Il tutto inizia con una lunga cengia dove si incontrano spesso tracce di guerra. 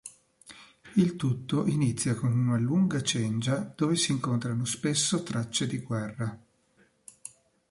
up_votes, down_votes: 2, 0